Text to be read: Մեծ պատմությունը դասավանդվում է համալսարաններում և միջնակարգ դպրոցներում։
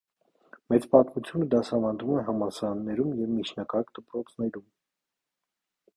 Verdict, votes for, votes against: accepted, 2, 0